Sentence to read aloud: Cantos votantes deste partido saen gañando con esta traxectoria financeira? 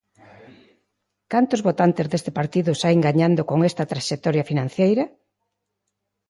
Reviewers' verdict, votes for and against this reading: accepted, 2, 0